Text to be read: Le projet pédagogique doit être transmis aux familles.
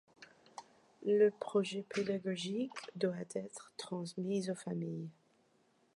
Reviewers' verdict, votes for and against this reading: accepted, 2, 0